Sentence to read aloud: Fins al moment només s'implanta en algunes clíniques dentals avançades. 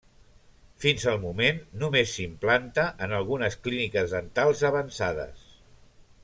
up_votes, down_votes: 2, 0